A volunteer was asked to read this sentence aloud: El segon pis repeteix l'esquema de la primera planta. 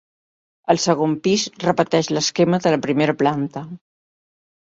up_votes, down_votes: 4, 0